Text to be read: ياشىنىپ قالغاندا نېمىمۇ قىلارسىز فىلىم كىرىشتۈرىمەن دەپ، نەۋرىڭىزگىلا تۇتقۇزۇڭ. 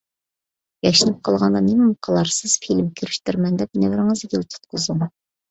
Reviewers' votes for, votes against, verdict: 2, 0, accepted